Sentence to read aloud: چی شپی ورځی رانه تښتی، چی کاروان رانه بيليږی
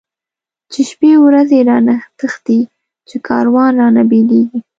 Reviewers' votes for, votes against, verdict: 2, 0, accepted